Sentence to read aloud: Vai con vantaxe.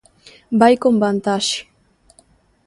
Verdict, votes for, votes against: accepted, 2, 0